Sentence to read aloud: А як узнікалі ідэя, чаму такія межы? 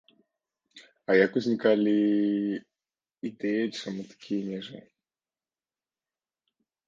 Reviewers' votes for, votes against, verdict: 0, 2, rejected